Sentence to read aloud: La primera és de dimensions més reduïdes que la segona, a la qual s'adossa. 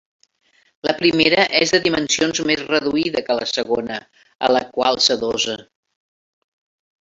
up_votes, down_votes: 1, 2